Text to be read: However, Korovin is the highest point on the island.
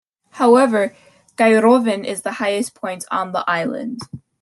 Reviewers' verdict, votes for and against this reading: rejected, 1, 2